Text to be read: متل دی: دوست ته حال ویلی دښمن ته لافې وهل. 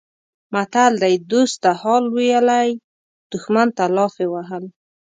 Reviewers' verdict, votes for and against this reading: accepted, 3, 0